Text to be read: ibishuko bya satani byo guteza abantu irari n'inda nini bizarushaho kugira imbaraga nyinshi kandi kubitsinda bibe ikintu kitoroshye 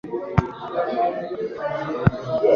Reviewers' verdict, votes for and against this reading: rejected, 1, 2